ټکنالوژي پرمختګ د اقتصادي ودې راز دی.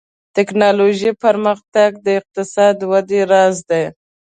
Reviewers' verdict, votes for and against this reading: accepted, 2, 0